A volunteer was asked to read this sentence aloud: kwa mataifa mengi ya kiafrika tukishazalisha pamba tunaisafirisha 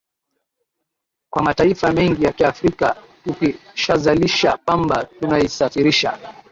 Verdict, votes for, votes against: rejected, 1, 2